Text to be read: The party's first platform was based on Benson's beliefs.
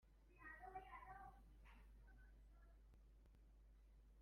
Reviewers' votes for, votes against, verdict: 0, 2, rejected